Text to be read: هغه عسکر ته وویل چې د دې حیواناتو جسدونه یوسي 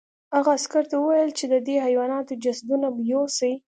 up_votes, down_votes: 2, 0